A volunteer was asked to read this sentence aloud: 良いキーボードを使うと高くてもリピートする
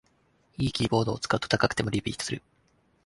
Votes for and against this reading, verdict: 3, 0, accepted